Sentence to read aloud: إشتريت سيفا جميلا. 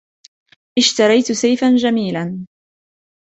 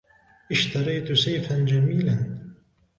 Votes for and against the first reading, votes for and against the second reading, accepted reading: 0, 2, 3, 0, second